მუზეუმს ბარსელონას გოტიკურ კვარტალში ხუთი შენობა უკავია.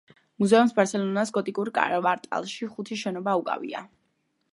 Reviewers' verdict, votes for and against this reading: rejected, 0, 2